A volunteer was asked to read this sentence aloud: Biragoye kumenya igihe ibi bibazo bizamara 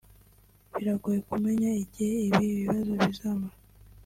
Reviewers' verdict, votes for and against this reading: accepted, 2, 0